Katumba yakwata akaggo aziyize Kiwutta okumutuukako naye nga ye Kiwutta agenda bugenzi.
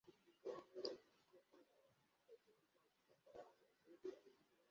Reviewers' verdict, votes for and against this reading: rejected, 0, 2